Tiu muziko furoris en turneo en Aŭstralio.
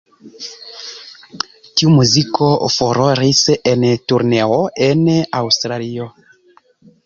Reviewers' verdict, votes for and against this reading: rejected, 0, 2